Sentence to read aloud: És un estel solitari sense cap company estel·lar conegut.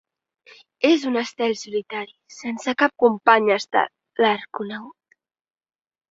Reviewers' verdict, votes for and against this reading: rejected, 0, 2